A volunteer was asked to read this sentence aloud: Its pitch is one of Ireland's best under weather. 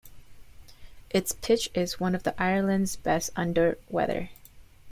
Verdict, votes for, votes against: rejected, 1, 2